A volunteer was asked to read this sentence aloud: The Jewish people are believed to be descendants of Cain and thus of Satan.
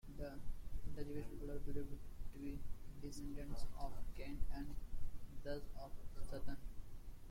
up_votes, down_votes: 0, 2